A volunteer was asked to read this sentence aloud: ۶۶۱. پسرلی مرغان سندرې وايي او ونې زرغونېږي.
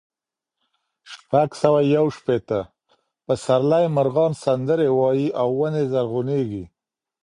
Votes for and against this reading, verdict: 0, 2, rejected